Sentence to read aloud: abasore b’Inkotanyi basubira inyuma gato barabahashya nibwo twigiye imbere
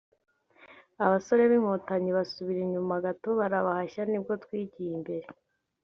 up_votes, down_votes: 3, 0